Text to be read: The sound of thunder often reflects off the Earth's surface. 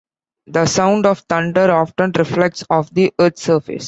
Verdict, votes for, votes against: accepted, 3, 0